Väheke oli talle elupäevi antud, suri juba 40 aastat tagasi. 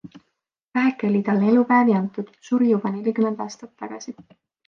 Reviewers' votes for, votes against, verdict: 0, 2, rejected